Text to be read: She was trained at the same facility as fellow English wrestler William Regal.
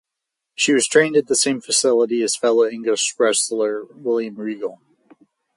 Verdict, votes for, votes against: accepted, 4, 0